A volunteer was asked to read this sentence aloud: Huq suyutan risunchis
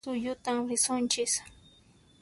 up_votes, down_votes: 1, 2